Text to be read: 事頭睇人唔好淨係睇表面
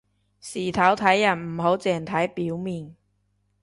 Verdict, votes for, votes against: rejected, 1, 2